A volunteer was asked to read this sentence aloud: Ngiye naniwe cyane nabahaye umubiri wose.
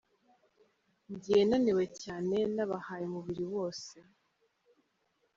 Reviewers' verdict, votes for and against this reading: rejected, 1, 2